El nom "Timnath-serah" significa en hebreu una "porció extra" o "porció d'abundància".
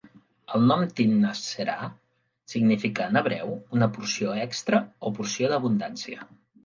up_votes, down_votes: 2, 0